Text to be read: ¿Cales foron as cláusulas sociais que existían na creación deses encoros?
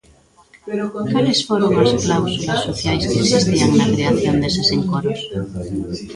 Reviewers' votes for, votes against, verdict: 1, 2, rejected